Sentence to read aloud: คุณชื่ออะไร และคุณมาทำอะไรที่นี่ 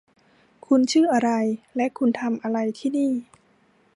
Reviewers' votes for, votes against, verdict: 0, 2, rejected